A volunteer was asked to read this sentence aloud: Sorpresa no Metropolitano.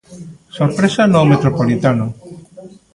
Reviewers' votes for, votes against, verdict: 1, 2, rejected